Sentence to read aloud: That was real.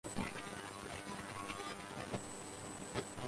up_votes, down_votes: 0, 4